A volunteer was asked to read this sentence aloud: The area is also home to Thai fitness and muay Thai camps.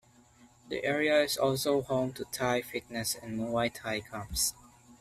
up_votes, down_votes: 2, 0